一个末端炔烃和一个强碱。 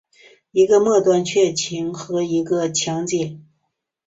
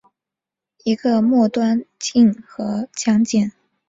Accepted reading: first